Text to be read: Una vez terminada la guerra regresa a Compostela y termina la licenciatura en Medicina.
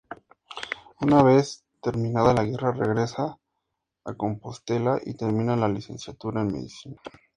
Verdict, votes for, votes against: accepted, 2, 0